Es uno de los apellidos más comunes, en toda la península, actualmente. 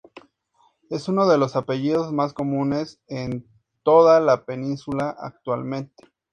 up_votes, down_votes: 2, 0